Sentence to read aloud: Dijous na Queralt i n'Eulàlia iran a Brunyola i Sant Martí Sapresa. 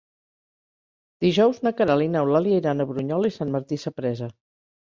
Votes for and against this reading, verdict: 3, 0, accepted